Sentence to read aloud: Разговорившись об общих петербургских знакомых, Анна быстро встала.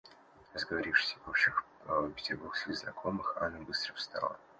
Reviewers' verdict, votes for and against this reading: accepted, 2, 0